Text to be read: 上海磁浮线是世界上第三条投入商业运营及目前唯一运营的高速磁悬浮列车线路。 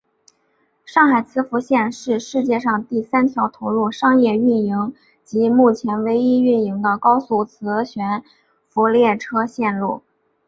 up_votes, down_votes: 2, 0